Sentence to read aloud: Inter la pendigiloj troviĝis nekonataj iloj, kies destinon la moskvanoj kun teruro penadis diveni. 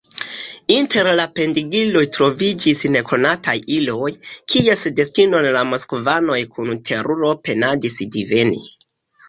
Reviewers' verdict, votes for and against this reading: accepted, 2, 1